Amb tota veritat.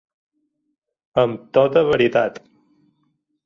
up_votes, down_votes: 4, 0